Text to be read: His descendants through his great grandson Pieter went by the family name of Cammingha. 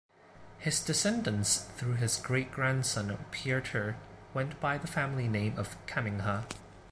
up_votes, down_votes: 2, 0